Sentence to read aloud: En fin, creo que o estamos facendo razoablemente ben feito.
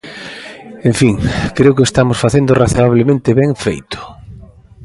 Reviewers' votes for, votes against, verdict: 2, 0, accepted